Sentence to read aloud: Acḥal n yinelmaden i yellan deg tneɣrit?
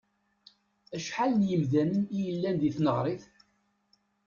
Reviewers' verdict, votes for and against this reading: rejected, 0, 2